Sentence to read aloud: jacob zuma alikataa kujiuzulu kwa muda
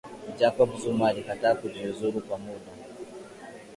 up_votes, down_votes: 2, 0